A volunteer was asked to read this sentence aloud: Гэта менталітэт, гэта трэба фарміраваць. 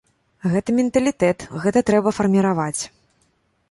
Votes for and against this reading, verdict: 2, 0, accepted